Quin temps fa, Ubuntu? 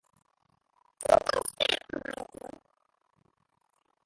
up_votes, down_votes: 0, 2